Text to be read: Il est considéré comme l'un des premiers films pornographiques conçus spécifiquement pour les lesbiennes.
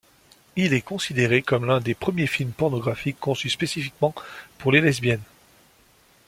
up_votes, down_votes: 2, 0